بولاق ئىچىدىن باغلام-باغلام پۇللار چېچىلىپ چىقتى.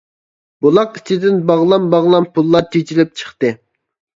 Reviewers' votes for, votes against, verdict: 0, 2, rejected